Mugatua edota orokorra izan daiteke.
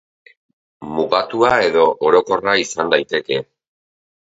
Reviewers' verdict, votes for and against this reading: rejected, 2, 4